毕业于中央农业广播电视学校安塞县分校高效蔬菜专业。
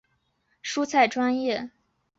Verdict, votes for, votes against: rejected, 2, 3